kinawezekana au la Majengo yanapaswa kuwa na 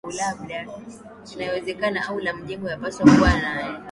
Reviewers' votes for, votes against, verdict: 0, 2, rejected